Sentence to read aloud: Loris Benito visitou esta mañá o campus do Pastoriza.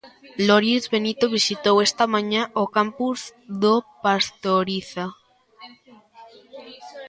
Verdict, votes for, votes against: rejected, 1, 2